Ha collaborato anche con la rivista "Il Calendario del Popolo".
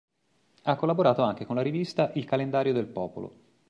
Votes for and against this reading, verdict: 4, 0, accepted